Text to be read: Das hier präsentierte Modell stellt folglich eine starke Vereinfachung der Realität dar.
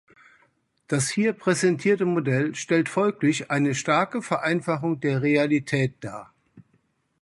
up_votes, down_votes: 2, 0